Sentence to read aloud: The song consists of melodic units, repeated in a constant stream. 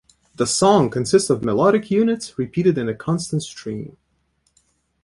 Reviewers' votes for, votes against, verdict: 2, 0, accepted